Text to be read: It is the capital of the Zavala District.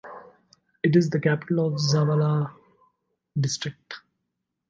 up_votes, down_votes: 2, 0